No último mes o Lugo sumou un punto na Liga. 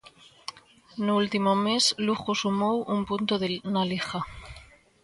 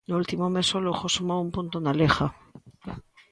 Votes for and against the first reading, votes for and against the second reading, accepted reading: 0, 2, 2, 0, second